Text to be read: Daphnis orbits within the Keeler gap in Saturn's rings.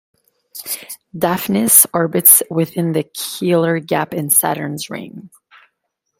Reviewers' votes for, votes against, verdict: 1, 2, rejected